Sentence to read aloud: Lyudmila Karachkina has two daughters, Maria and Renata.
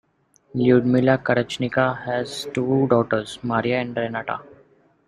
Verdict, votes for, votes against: accepted, 2, 0